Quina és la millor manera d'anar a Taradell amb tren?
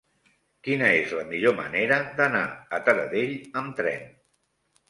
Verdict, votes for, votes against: accepted, 3, 0